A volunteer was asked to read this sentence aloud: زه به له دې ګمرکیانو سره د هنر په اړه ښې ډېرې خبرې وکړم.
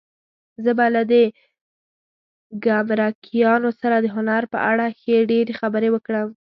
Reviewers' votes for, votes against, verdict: 1, 2, rejected